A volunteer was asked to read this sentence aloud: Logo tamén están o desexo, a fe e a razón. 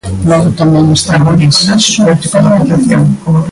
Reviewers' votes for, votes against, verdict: 0, 2, rejected